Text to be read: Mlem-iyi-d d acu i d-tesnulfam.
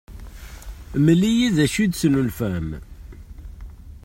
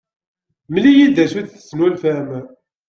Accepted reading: first